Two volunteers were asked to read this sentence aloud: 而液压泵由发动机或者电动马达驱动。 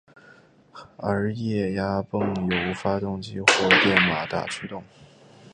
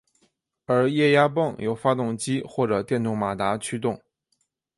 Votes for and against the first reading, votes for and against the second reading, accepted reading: 0, 2, 6, 1, second